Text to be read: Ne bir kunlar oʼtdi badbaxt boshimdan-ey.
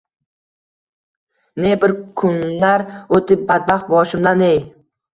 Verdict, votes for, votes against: rejected, 1, 2